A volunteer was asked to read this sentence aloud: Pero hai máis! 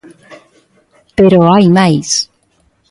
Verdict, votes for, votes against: accepted, 2, 0